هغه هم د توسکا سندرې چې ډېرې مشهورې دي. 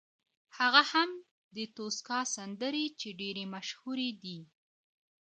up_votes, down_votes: 2, 0